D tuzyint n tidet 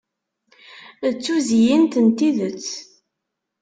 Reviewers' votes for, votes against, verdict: 2, 0, accepted